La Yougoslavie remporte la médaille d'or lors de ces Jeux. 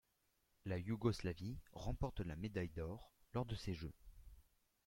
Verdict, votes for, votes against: accepted, 2, 1